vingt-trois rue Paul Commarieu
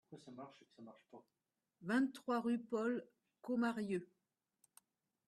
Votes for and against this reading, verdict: 0, 2, rejected